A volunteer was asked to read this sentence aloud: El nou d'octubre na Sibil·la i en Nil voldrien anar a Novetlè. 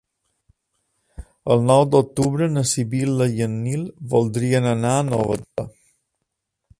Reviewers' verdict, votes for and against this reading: rejected, 0, 2